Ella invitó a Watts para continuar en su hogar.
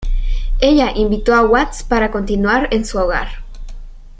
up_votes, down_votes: 2, 0